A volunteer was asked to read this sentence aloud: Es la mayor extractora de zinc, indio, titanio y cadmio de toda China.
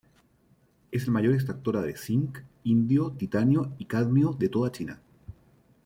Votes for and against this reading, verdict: 2, 0, accepted